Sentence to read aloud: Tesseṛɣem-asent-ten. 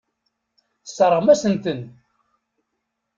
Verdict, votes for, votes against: rejected, 1, 2